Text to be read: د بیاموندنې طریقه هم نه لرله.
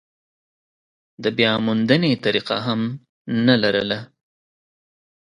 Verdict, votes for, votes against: accepted, 2, 0